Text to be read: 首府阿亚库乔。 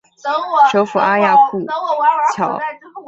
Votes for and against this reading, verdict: 0, 2, rejected